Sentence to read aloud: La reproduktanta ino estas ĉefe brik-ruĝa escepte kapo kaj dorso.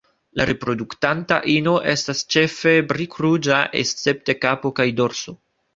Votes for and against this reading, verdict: 2, 0, accepted